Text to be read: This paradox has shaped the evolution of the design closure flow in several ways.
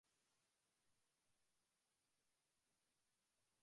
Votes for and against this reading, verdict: 0, 2, rejected